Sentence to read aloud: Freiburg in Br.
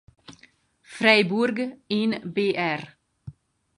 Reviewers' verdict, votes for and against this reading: rejected, 2, 2